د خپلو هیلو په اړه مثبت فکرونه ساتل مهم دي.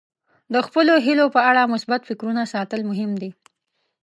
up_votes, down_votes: 2, 0